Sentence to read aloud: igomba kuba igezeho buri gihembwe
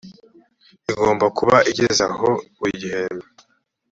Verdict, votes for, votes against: accepted, 3, 1